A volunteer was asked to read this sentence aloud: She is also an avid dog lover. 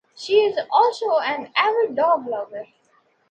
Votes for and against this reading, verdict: 2, 0, accepted